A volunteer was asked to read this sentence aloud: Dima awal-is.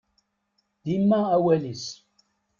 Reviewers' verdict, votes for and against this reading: accepted, 2, 0